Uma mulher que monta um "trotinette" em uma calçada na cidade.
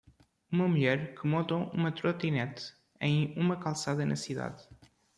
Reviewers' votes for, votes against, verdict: 1, 2, rejected